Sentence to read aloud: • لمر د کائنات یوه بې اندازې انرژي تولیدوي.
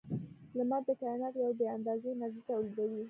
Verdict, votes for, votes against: rejected, 0, 2